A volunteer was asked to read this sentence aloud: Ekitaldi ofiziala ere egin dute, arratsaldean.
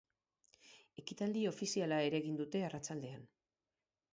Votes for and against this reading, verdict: 6, 0, accepted